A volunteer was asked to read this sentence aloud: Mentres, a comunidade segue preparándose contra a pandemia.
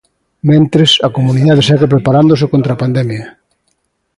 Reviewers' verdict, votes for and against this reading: accepted, 2, 0